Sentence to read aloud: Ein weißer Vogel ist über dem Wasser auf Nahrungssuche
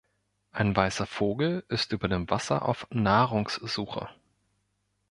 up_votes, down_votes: 2, 0